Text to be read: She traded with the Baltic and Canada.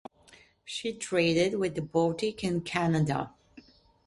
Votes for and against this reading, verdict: 2, 0, accepted